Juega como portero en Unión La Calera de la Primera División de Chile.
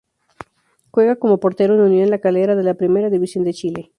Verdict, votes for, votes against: rejected, 2, 2